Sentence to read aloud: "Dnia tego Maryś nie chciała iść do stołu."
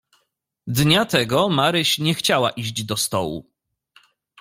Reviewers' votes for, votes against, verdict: 2, 0, accepted